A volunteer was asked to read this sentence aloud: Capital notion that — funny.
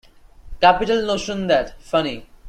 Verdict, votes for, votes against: accepted, 2, 0